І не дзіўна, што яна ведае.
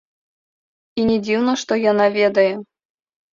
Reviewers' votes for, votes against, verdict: 2, 1, accepted